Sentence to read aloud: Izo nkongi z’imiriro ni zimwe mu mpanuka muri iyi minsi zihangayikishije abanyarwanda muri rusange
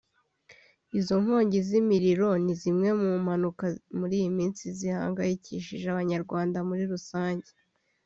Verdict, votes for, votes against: rejected, 0, 2